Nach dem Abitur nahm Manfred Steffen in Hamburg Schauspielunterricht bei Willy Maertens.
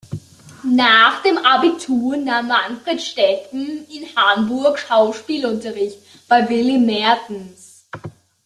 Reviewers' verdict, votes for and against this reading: accepted, 2, 1